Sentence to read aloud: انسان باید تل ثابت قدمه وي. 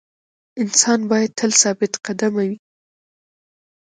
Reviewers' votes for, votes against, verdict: 1, 2, rejected